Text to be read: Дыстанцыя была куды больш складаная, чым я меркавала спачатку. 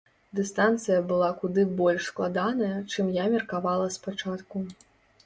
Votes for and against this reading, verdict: 2, 0, accepted